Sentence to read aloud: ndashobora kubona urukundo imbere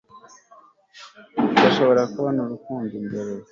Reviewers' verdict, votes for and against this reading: accepted, 2, 0